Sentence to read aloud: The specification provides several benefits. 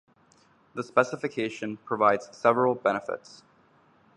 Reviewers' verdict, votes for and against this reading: accepted, 2, 0